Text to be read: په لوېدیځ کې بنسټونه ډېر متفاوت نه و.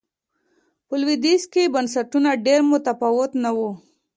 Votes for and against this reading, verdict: 2, 0, accepted